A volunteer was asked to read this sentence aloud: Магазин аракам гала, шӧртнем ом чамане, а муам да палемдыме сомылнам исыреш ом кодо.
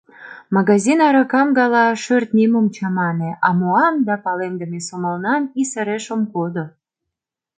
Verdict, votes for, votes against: accepted, 2, 0